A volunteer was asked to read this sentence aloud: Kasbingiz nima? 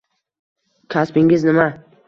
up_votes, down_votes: 2, 0